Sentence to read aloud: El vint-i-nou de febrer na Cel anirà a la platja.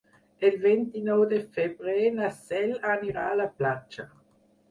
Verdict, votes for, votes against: rejected, 0, 4